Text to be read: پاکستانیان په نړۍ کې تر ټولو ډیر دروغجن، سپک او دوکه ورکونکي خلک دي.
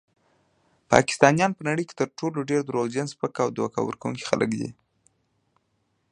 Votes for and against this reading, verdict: 2, 0, accepted